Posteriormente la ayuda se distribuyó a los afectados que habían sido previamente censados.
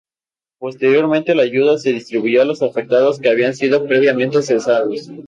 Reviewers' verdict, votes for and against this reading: rejected, 0, 2